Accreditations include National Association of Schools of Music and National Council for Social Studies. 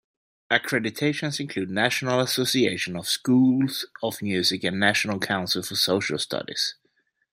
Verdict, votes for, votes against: accepted, 2, 0